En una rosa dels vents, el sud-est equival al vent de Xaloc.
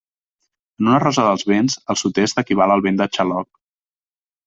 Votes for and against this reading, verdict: 1, 2, rejected